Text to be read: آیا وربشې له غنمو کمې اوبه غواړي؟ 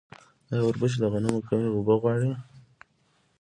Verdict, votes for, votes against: accepted, 2, 0